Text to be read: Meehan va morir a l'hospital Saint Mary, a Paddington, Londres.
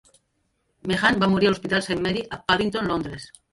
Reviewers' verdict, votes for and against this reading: rejected, 0, 2